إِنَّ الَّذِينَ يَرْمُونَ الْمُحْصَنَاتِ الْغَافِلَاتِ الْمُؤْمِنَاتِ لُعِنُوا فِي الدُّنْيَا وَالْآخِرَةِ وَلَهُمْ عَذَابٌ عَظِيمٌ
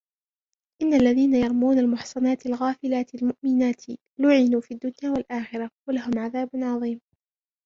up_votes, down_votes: 1, 2